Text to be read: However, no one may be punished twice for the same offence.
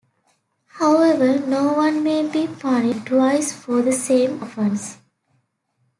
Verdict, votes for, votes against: rejected, 0, 2